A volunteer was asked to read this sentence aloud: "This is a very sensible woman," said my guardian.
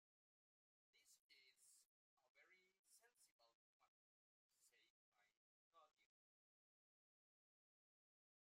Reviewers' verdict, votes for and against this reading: rejected, 0, 3